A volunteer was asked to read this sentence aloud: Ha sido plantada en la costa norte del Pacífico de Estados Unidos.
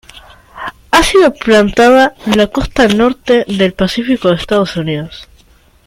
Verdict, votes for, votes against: accepted, 2, 1